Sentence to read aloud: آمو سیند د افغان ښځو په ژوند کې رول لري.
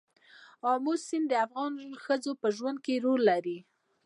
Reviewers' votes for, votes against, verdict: 1, 2, rejected